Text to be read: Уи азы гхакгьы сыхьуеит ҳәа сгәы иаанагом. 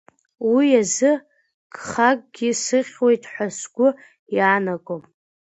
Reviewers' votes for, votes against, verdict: 2, 0, accepted